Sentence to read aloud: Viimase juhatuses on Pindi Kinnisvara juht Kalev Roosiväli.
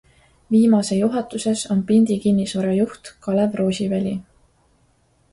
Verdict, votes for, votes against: accepted, 2, 0